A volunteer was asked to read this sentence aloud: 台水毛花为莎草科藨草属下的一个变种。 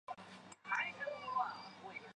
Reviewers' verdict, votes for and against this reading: rejected, 0, 2